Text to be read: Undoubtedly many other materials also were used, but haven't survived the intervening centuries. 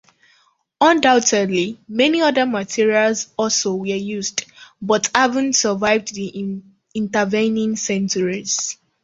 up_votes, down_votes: 1, 2